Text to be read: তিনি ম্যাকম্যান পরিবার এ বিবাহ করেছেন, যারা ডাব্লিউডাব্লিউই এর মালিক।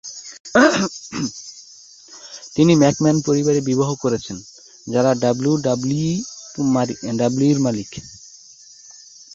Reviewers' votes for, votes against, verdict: 0, 2, rejected